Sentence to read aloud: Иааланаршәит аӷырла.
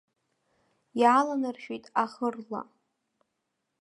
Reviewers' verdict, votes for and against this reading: rejected, 0, 3